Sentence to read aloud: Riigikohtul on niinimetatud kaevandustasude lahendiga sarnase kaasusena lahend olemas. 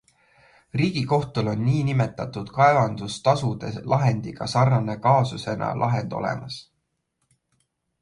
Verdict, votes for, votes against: accepted, 2, 0